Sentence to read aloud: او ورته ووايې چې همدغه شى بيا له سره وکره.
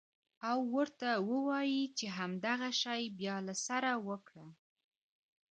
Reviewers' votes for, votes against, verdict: 2, 0, accepted